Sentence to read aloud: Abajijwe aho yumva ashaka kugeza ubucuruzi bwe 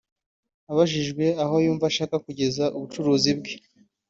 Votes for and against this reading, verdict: 2, 0, accepted